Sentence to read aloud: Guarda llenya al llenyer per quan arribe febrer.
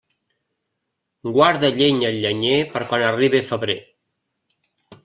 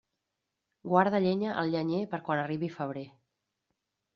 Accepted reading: first